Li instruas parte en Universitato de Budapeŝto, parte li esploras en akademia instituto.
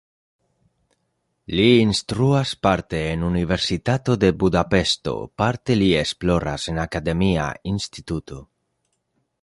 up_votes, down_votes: 0, 2